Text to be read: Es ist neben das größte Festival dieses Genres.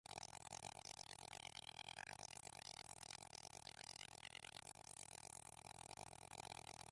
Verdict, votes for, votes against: rejected, 0, 3